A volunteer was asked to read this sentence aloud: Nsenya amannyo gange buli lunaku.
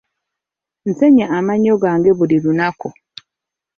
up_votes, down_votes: 2, 1